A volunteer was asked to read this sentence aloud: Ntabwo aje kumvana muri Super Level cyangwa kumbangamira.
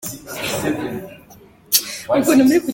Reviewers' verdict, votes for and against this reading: rejected, 0, 3